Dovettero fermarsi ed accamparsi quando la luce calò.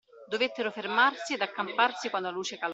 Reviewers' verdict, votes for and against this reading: rejected, 1, 2